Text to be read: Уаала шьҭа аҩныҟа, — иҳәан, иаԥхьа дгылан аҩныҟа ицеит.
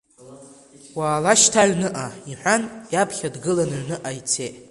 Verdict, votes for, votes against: accepted, 2, 0